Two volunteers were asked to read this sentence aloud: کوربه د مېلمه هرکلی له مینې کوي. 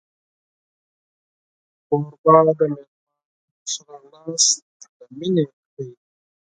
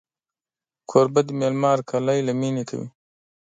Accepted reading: second